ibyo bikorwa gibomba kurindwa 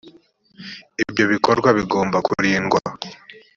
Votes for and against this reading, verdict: 2, 0, accepted